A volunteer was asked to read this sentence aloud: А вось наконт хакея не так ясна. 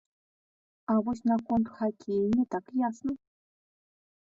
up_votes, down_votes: 2, 0